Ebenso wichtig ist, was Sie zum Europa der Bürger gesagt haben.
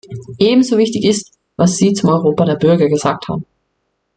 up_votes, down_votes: 2, 0